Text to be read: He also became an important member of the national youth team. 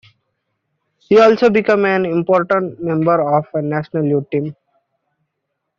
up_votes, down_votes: 2, 0